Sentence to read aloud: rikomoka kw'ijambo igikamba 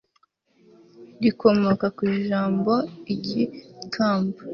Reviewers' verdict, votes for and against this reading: accepted, 2, 0